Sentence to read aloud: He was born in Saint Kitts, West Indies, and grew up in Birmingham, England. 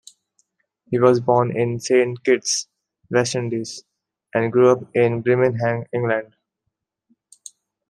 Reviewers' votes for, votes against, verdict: 3, 0, accepted